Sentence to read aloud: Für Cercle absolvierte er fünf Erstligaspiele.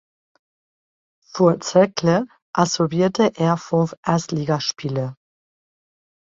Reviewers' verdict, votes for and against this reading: rejected, 0, 2